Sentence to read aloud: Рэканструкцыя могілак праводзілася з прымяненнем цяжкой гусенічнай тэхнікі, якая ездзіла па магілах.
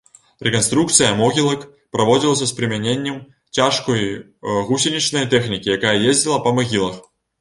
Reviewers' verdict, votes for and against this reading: rejected, 0, 2